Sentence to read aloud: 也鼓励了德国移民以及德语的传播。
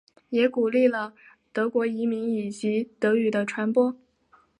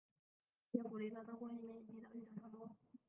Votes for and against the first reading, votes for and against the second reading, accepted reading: 2, 0, 0, 4, first